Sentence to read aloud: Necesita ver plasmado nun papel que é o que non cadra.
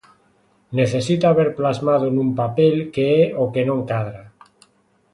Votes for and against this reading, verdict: 2, 0, accepted